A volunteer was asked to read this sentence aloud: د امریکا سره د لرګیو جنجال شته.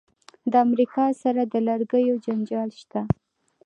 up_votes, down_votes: 2, 0